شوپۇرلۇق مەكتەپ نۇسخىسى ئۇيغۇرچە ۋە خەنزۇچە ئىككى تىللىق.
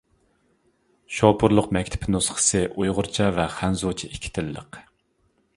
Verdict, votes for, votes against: rejected, 1, 2